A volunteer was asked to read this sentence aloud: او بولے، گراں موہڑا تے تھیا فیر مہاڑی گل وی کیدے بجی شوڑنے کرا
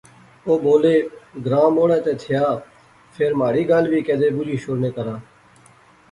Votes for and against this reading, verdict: 2, 0, accepted